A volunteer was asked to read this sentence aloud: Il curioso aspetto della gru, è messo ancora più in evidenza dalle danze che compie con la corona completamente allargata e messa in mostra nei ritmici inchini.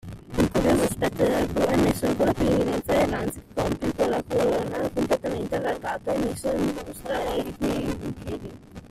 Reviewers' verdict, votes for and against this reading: rejected, 0, 2